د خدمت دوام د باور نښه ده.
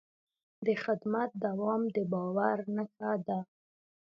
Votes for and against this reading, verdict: 1, 2, rejected